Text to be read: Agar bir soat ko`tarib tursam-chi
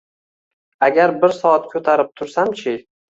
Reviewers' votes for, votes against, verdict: 2, 1, accepted